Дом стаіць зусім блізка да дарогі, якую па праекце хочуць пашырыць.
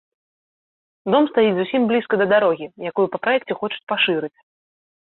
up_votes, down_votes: 2, 0